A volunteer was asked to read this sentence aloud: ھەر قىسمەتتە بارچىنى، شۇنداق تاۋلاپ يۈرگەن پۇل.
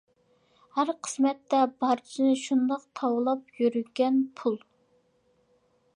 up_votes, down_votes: 2, 0